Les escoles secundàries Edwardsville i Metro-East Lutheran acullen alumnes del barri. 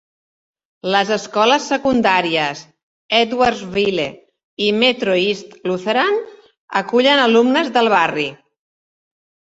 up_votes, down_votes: 2, 1